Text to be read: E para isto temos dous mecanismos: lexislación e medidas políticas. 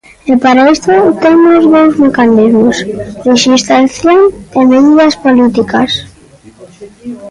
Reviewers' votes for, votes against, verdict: 0, 2, rejected